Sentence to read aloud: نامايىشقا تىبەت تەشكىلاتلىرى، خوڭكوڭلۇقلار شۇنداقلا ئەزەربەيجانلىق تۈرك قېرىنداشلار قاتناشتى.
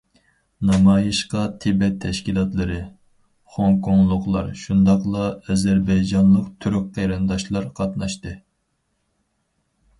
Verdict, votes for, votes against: accepted, 4, 0